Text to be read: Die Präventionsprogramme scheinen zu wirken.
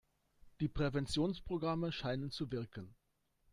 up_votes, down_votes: 3, 1